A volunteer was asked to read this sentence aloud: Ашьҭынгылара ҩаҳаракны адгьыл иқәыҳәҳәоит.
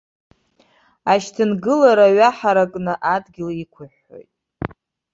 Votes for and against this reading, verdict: 2, 0, accepted